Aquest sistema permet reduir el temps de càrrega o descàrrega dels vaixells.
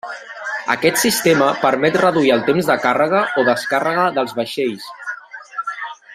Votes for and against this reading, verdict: 3, 1, accepted